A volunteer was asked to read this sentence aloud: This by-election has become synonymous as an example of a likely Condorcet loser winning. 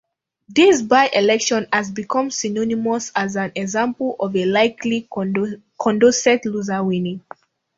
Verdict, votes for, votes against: rejected, 0, 2